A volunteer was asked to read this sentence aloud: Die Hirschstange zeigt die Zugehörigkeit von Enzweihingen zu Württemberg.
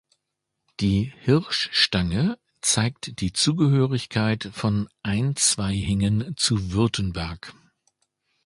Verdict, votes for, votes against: rejected, 0, 2